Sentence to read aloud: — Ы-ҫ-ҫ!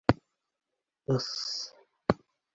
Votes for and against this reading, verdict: 2, 0, accepted